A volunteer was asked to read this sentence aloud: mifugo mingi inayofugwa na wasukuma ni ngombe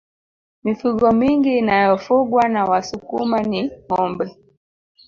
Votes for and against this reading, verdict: 0, 2, rejected